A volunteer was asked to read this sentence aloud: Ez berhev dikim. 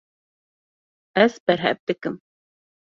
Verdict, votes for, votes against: accepted, 2, 0